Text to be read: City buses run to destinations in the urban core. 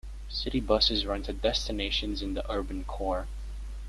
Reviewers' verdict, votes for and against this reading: accepted, 2, 1